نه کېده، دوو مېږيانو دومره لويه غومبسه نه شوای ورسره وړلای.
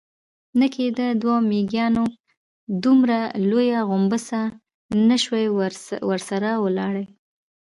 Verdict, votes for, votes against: accepted, 2, 0